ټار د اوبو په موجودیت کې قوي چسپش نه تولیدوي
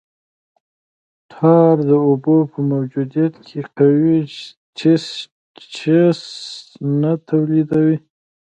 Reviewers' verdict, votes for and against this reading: rejected, 0, 2